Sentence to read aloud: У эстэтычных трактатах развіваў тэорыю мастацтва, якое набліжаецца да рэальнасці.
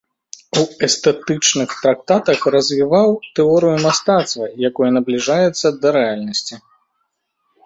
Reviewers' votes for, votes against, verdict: 0, 2, rejected